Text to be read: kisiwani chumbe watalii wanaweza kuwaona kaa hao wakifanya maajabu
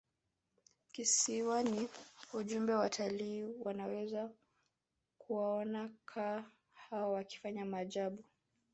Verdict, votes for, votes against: rejected, 0, 2